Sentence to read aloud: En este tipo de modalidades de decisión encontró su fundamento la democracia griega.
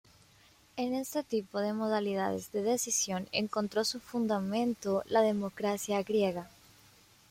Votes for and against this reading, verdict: 1, 2, rejected